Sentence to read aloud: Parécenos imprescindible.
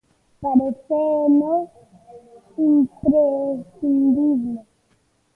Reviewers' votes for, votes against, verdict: 0, 3, rejected